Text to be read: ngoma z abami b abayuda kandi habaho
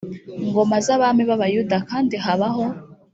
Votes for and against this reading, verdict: 2, 0, accepted